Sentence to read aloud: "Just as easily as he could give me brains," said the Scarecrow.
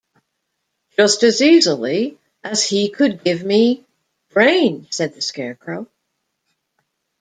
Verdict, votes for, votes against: rejected, 1, 2